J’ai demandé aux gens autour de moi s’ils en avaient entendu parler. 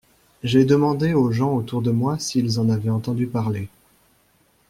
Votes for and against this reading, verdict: 2, 0, accepted